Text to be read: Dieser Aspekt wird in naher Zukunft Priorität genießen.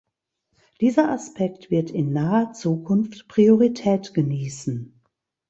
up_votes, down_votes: 2, 0